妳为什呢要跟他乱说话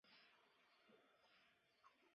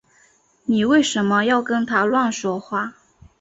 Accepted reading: second